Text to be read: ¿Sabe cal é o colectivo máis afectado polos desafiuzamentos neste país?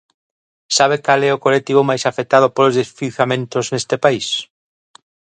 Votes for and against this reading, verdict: 0, 2, rejected